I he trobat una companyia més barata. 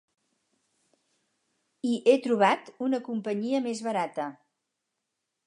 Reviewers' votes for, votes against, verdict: 4, 0, accepted